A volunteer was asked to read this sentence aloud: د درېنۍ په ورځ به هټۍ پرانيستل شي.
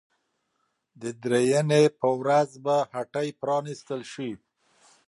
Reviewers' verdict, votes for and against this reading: accepted, 2, 0